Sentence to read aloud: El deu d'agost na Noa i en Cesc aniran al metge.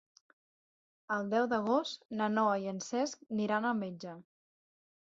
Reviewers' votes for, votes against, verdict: 3, 6, rejected